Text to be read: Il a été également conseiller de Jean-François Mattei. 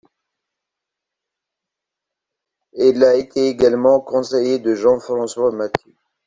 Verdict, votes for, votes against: rejected, 1, 2